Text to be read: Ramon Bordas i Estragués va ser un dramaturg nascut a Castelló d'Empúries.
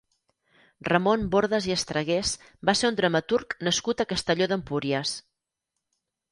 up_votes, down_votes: 4, 0